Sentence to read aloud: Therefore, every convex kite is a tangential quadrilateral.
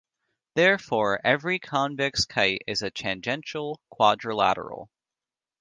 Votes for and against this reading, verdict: 2, 0, accepted